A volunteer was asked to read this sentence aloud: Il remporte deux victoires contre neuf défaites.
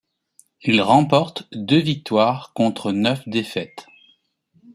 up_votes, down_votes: 2, 0